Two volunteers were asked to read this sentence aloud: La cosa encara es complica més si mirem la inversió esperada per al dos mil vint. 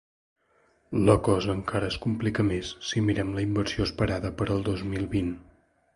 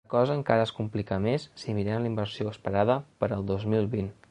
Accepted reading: first